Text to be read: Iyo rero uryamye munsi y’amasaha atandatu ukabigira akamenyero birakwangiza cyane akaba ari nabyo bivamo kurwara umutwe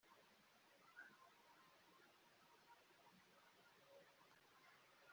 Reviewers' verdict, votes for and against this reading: rejected, 0, 2